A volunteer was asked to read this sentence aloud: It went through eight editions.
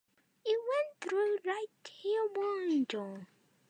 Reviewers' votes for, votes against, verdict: 0, 2, rejected